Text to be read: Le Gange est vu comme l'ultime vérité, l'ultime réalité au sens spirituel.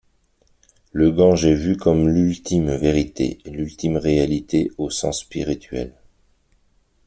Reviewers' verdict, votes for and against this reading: accepted, 2, 0